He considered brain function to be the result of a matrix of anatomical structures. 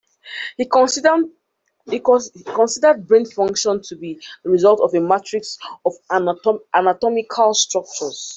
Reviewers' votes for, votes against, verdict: 1, 2, rejected